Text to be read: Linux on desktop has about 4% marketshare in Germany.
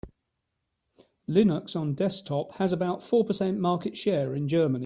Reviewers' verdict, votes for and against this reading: rejected, 0, 2